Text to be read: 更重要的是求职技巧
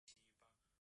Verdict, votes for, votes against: rejected, 0, 5